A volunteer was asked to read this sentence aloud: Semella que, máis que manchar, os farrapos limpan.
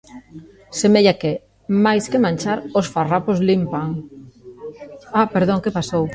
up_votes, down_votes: 0, 2